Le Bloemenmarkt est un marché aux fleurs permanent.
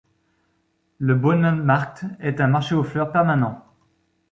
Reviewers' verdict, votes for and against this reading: rejected, 1, 2